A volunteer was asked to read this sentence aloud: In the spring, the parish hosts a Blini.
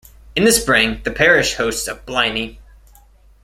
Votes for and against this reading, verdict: 2, 0, accepted